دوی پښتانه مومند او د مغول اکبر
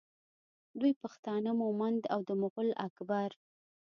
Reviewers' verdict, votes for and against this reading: accepted, 2, 0